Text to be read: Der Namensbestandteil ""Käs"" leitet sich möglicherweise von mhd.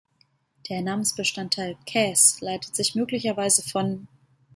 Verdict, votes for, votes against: rejected, 0, 2